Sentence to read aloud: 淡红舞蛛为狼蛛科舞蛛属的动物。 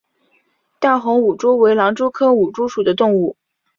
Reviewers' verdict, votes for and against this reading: accepted, 5, 0